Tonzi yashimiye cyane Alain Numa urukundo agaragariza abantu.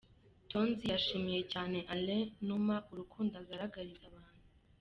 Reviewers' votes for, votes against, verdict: 2, 1, accepted